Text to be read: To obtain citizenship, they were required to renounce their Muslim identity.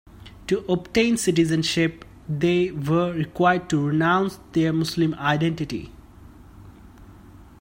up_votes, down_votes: 2, 1